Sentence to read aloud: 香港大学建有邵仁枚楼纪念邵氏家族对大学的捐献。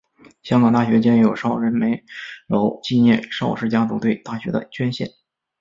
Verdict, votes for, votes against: accepted, 4, 0